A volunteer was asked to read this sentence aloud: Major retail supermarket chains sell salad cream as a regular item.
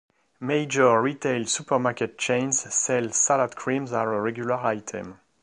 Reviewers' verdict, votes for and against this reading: rejected, 1, 2